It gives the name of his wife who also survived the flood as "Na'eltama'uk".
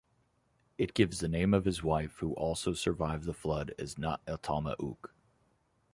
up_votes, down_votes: 2, 0